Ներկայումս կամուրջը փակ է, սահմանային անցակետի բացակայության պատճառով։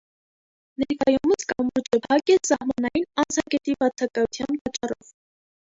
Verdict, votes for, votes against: rejected, 0, 2